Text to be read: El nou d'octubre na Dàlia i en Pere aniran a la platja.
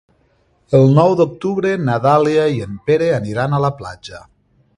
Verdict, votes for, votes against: accepted, 3, 0